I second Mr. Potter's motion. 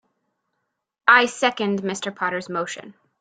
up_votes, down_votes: 2, 0